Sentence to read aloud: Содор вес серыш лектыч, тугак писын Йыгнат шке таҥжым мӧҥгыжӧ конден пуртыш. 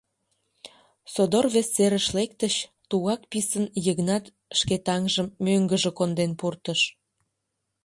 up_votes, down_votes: 2, 0